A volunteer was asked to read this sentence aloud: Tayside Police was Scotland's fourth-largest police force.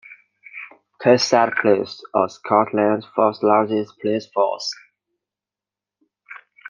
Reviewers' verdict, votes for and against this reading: rejected, 1, 2